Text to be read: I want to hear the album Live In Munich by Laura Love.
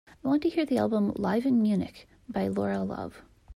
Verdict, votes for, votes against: accepted, 2, 0